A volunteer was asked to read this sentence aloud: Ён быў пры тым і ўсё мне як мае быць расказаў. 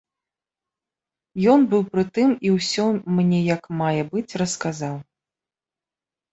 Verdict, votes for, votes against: accepted, 2, 0